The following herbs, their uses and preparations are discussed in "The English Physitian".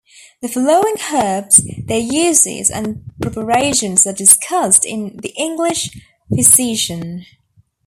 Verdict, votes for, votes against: rejected, 0, 2